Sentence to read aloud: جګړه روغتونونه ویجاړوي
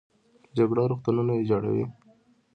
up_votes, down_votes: 2, 0